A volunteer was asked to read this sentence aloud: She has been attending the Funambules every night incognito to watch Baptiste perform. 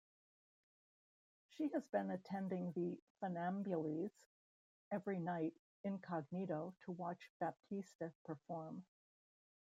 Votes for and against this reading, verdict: 1, 2, rejected